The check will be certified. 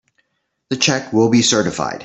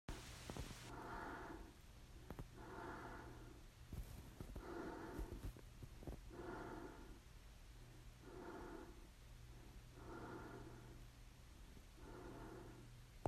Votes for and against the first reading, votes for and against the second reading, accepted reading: 3, 0, 0, 3, first